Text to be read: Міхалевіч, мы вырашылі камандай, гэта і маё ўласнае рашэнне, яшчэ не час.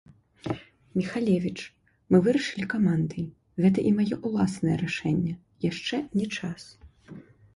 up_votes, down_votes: 0, 2